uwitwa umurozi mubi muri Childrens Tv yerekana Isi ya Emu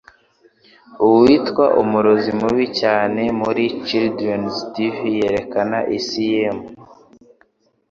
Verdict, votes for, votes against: rejected, 1, 2